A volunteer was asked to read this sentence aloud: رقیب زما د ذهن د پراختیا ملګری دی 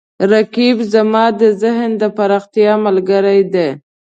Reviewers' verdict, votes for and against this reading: accepted, 2, 0